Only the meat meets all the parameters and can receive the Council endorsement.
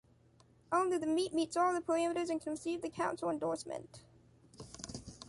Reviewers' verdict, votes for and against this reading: accepted, 2, 0